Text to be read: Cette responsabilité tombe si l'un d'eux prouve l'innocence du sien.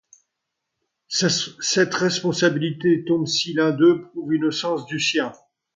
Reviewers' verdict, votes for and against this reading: rejected, 1, 2